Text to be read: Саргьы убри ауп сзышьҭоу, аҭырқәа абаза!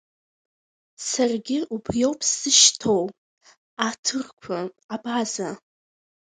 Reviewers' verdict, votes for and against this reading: rejected, 1, 2